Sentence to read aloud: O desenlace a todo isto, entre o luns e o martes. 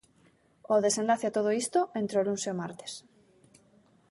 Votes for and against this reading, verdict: 2, 0, accepted